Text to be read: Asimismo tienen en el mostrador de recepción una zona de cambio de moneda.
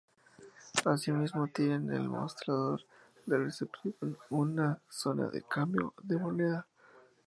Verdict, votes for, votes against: rejected, 2, 2